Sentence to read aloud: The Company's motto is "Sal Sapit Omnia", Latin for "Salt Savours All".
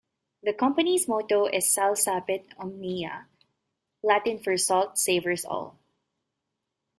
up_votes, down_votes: 2, 0